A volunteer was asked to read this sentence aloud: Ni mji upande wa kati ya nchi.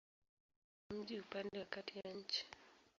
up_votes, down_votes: 0, 2